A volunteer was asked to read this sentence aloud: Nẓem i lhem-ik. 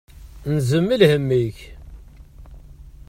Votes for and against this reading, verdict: 1, 2, rejected